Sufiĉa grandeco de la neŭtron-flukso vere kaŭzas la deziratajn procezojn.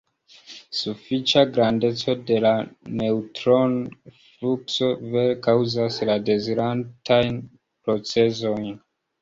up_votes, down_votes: 0, 2